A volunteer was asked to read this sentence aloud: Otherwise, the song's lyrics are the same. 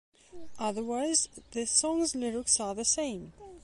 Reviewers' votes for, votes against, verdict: 3, 0, accepted